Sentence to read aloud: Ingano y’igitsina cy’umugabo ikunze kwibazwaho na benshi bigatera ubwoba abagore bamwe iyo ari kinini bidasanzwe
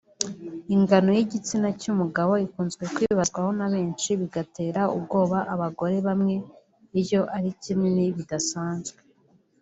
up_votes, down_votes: 2, 1